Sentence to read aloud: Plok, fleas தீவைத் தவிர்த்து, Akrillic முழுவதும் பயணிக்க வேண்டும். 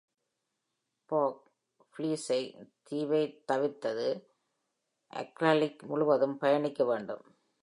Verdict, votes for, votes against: rejected, 2, 3